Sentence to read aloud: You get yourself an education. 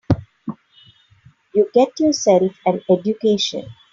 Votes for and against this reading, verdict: 3, 0, accepted